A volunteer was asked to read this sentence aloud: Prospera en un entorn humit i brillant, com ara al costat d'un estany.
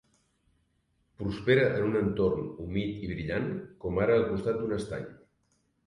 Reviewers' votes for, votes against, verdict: 4, 0, accepted